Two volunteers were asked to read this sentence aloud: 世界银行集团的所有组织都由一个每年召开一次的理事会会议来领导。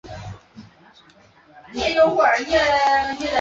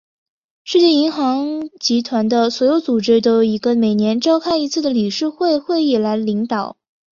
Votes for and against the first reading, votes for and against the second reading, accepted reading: 0, 5, 2, 0, second